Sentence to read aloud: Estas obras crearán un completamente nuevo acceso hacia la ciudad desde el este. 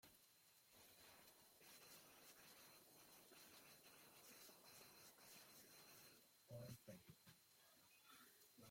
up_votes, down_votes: 0, 2